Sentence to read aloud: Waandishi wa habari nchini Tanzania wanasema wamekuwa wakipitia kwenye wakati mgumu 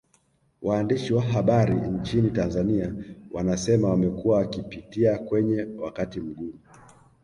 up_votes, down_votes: 1, 2